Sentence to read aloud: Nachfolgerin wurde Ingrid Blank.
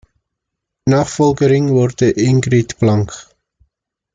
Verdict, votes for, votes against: accepted, 2, 0